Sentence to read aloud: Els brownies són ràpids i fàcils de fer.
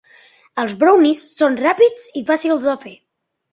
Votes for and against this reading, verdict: 2, 0, accepted